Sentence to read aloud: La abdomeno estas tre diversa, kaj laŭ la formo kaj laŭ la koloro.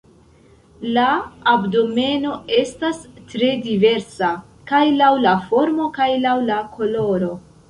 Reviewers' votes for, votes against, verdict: 2, 0, accepted